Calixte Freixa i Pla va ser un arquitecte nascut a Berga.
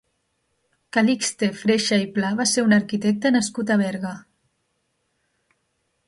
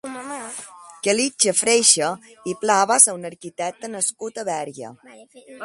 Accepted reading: first